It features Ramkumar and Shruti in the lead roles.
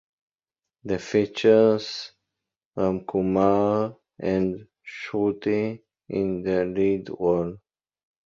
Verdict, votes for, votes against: rejected, 0, 2